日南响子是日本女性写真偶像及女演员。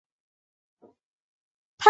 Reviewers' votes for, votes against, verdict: 1, 4, rejected